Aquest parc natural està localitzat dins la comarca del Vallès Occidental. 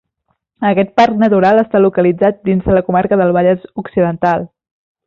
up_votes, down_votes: 1, 2